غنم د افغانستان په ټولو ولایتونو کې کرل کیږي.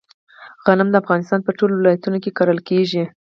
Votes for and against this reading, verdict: 2, 4, rejected